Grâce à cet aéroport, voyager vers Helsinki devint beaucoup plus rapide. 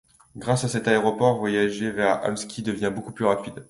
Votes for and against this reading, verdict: 1, 2, rejected